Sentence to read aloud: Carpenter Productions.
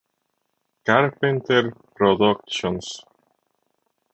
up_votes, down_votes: 0, 2